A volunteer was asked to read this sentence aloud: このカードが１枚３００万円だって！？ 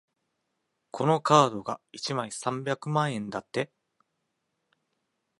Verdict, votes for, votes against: rejected, 0, 2